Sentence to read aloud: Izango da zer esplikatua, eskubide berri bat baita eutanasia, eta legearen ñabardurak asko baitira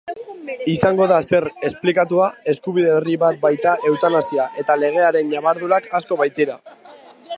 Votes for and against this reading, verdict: 1, 2, rejected